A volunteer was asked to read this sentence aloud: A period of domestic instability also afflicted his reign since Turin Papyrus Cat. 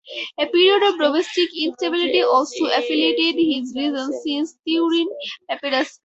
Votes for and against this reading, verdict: 0, 4, rejected